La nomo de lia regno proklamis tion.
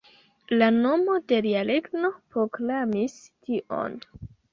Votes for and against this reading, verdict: 2, 0, accepted